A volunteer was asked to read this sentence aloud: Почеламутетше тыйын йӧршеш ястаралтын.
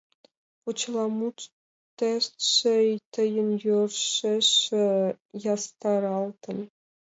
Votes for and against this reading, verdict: 0, 2, rejected